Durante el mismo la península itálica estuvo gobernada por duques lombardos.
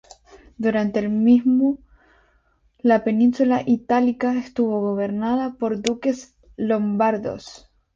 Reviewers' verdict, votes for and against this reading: rejected, 2, 2